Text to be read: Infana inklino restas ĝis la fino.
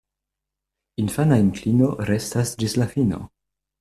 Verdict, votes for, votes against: accepted, 2, 0